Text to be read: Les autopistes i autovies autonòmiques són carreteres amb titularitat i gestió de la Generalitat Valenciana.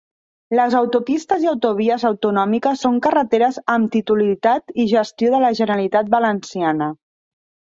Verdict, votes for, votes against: rejected, 1, 2